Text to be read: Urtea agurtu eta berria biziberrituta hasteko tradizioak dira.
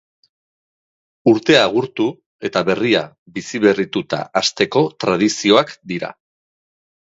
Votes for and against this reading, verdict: 2, 0, accepted